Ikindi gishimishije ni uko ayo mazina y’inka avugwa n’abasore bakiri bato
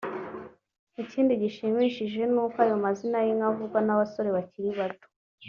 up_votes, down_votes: 2, 0